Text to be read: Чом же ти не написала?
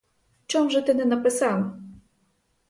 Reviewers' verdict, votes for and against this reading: rejected, 0, 4